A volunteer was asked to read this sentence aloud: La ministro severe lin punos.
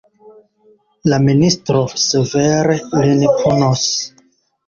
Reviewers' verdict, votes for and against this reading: rejected, 0, 2